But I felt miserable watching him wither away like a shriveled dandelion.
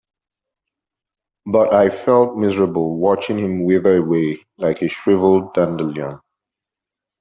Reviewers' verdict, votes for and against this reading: accepted, 3, 0